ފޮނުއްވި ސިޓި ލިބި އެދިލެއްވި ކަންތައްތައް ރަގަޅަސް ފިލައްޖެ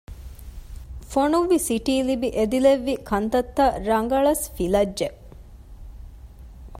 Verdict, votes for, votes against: accepted, 2, 0